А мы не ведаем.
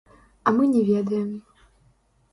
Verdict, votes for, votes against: rejected, 1, 2